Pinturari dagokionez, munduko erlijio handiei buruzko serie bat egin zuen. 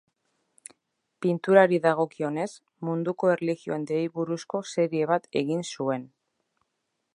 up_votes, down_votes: 3, 0